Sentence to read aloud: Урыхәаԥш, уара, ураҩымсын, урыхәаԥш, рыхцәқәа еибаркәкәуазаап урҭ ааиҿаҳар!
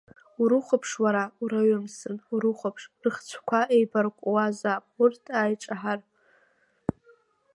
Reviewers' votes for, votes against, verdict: 1, 2, rejected